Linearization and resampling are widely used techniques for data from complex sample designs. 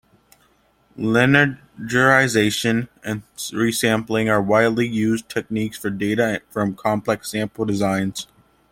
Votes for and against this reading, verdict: 1, 2, rejected